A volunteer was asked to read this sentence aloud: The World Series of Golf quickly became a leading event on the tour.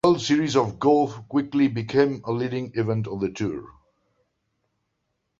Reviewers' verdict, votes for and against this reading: rejected, 1, 2